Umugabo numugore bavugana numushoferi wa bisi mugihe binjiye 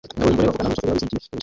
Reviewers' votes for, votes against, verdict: 0, 2, rejected